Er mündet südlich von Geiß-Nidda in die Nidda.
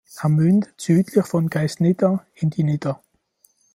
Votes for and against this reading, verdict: 0, 2, rejected